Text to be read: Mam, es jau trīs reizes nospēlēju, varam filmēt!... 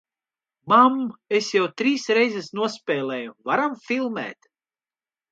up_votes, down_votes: 2, 0